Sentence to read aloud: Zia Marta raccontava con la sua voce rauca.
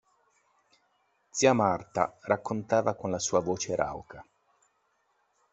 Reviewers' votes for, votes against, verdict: 2, 0, accepted